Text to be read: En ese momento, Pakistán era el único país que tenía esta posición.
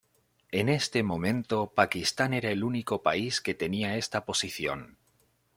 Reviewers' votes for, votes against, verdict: 2, 1, accepted